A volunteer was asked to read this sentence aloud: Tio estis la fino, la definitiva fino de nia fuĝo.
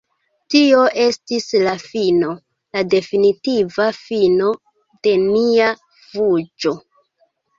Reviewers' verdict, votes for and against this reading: rejected, 1, 2